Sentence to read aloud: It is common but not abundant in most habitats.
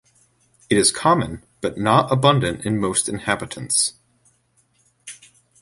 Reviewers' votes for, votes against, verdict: 1, 2, rejected